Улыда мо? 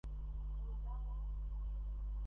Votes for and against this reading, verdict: 0, 2, rejected